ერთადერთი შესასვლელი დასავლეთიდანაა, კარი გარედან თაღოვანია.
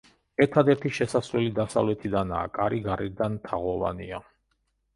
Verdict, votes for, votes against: accepted, 2, 0